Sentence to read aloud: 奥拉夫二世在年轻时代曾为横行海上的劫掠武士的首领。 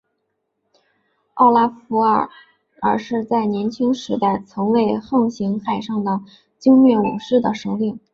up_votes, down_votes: 0, 3